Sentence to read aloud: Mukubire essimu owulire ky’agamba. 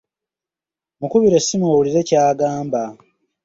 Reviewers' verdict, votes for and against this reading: accepted, 2, 0